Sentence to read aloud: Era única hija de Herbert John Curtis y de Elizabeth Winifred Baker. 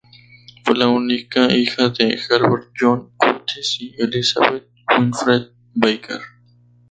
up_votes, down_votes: 0, 2